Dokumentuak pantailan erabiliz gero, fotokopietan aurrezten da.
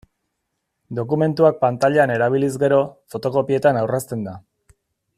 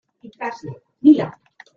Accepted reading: first